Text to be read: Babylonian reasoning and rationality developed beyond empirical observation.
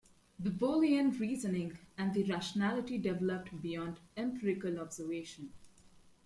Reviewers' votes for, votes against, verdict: 1, 2, rejected